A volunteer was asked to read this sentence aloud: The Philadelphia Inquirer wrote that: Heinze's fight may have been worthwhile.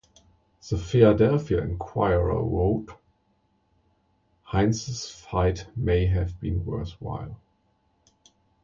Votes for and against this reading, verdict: 1, 2, rejected